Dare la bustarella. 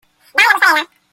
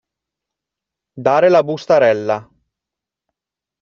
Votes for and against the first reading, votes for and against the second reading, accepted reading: 0, 2, 2, 0, second